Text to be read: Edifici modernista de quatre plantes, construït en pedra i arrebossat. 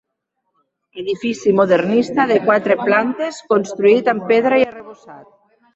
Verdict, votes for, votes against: rejected, 1, 2